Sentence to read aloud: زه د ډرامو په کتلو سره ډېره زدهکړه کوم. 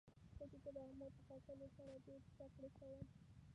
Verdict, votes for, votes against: rejected, 0, 2